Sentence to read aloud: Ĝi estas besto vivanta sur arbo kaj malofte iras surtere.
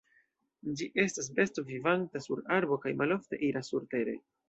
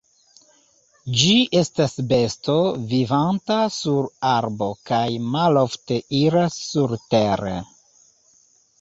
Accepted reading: first